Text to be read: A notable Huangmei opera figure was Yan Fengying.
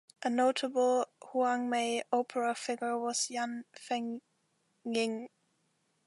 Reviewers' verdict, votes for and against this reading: accepted, 3, 1